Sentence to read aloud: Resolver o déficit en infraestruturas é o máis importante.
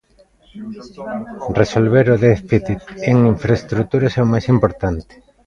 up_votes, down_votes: 0, 2